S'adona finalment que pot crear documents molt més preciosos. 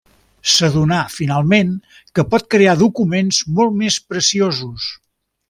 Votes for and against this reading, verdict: 3, 0, accepted